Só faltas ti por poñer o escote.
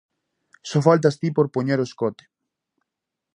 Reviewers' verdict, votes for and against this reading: accepted, 2, 0